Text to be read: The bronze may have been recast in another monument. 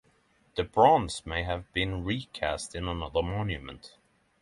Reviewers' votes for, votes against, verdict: 6, 0, accepted